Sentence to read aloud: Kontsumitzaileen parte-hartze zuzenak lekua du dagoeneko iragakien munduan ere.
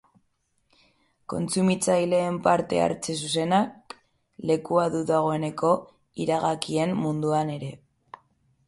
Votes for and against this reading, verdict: 3, 3, rejected